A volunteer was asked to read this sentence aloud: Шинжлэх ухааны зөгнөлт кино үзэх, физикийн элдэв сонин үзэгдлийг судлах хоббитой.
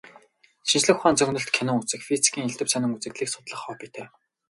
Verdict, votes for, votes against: rejected, 0, 2